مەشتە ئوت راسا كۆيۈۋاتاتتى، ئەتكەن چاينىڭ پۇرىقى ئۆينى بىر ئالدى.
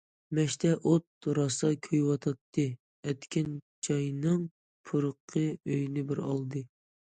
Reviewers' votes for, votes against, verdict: 2, 0, accepted